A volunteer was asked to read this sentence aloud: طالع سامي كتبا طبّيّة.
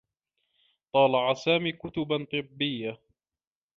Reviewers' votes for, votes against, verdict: 2, 0, accepted